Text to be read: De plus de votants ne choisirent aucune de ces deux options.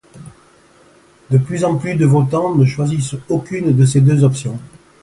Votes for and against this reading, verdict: 2, 1, accepted